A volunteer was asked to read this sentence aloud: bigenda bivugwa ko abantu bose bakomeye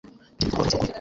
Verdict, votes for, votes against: rejected, 1, 2